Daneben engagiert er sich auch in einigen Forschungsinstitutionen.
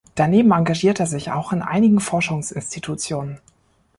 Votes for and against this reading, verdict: 3, 0, accepted